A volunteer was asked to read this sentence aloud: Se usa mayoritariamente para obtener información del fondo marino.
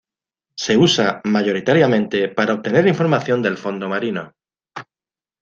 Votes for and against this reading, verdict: 2, 0, accepted